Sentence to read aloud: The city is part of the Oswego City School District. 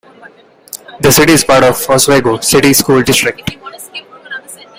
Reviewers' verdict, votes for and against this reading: rejected, 1, 2